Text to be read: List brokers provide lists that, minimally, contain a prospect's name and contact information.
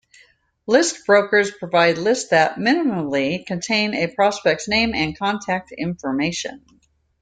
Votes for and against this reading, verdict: 2, 0, accepted